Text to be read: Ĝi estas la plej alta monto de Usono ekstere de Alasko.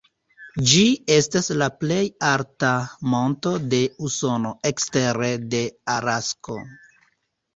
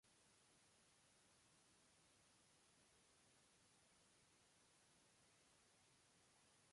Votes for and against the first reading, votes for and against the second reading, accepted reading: 3, 0, 1, 2, first